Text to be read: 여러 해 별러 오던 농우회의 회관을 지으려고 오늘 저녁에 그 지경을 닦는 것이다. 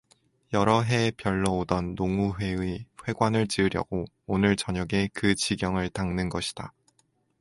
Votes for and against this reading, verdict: 2, 0, accepted